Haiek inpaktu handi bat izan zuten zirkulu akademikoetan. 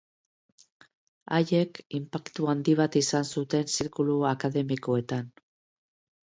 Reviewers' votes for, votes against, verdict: 3, 0, accepted